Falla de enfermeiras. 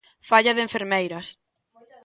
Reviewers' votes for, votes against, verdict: 2, 0, accepted